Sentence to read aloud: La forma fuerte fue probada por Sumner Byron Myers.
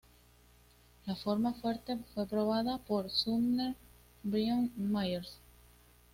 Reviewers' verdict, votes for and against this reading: accepted, 2, 1